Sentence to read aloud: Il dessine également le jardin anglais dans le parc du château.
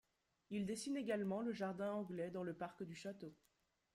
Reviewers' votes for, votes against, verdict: 2, 0, accepted